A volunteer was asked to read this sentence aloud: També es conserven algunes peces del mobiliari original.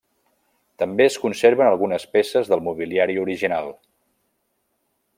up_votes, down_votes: 1, 2